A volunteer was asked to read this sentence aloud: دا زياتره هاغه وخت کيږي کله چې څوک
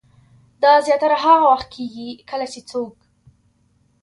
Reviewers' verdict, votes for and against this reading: accepted, 3, 0